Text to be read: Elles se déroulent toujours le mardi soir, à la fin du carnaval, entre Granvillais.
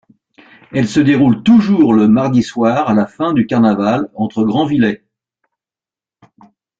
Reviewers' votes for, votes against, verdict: 2, 1, accepted